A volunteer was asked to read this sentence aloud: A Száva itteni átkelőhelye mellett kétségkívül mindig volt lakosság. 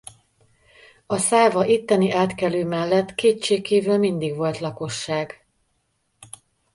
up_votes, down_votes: 1, 3